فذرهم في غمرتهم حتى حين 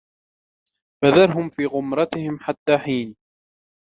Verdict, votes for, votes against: rejected, 1, 2